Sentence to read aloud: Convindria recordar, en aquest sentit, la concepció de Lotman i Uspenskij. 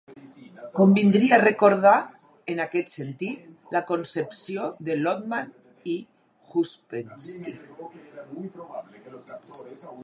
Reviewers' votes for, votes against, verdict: 2, 4, rejected